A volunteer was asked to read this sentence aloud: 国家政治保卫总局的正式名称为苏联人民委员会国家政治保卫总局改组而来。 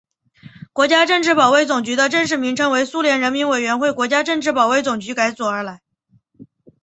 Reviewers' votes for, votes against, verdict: 4, 0, accepted